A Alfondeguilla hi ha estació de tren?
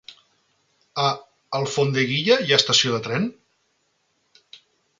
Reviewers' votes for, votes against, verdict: 3, 0, accepted